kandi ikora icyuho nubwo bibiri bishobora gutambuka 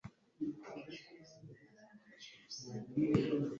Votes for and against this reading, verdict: 1, 3, rejected